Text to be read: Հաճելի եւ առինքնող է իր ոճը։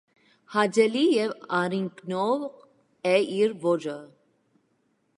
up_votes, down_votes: 1, 2